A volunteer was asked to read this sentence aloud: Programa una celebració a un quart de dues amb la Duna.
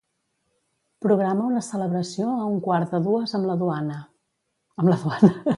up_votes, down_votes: 1, 2